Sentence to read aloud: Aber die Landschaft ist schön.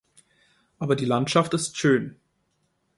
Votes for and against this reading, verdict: 2, 0, accepted